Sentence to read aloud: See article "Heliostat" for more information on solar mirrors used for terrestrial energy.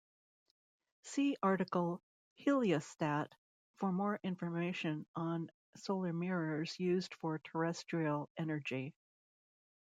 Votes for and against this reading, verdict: 2, 0, accepted